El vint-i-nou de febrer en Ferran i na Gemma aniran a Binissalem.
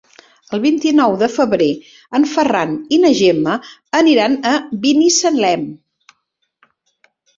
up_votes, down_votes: 3, 0